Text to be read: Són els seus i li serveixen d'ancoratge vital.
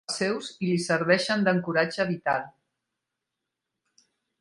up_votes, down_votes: 0, 2